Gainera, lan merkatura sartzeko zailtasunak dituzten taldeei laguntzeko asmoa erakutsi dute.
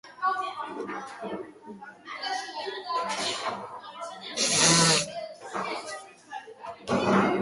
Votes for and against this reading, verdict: 0, 3, rejected